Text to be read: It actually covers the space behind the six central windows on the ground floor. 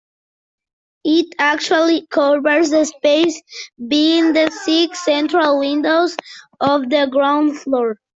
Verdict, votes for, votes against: rejected, 0, 2